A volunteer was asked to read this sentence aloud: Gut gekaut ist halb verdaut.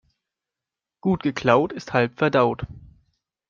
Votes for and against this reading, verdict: 1, 2, rejected